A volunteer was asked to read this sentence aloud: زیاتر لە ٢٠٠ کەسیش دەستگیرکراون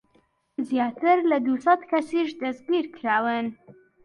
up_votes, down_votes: 0, 2